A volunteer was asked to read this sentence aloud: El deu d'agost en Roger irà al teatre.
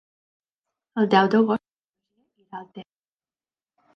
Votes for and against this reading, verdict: 0, 2, rejected